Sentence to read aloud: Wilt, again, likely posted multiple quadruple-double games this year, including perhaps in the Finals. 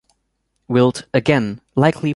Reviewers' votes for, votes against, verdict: 0, 2, rejected